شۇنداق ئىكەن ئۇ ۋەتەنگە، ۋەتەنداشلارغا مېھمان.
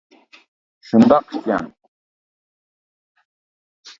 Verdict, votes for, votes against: rejected, 0, 2